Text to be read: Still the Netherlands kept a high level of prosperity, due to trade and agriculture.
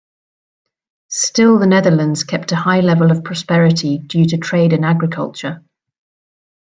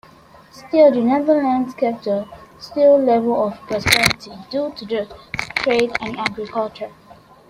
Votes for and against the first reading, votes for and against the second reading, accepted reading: 2, 0, 0, 2, first